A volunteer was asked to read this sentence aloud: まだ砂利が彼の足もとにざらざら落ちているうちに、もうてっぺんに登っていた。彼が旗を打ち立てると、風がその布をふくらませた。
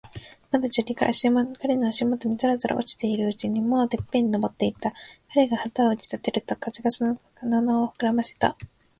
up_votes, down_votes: 1, 2